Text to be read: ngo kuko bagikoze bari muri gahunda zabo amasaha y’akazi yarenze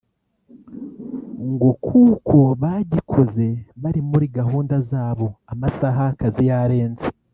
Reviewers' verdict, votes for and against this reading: accepted, 2, 0